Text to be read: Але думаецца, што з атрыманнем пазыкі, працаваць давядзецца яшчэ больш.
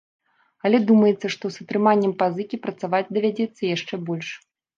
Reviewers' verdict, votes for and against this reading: accepted, 2, 0